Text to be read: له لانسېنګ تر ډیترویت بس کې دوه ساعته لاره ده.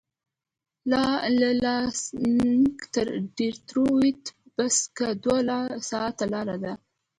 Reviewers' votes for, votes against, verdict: 0, 2, rejected